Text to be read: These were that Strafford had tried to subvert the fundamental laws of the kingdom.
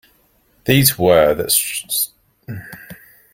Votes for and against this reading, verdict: 0, 2, rejected